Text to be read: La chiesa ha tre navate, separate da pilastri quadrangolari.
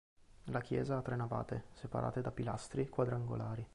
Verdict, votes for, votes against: accepted, 2, 0